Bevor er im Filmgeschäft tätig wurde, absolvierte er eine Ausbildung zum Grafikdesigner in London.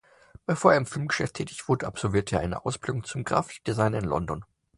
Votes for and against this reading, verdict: 2, 0, accepted